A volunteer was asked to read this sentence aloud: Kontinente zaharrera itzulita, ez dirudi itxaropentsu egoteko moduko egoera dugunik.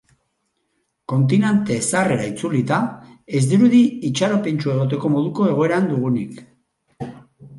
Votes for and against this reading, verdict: 0, 4, rejected